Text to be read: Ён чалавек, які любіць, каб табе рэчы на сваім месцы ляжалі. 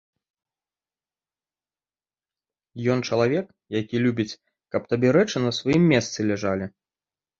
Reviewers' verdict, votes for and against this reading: accepted, 3, 0